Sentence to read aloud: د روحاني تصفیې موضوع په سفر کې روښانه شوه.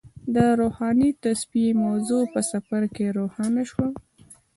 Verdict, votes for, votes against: accepted, 2, 0